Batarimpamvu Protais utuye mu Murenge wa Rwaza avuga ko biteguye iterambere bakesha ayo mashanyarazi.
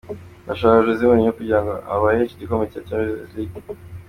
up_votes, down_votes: 0, 2